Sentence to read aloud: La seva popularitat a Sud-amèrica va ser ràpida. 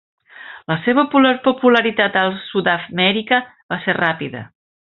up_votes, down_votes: 0, 2